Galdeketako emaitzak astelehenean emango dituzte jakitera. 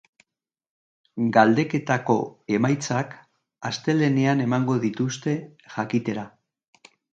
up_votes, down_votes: 2, 0